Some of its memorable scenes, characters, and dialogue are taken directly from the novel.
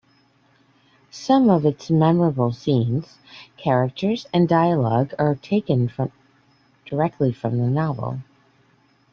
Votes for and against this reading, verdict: 0, 2, rejected